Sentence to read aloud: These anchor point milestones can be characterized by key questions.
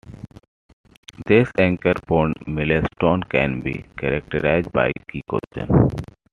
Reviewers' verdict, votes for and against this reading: rejected, 0, 2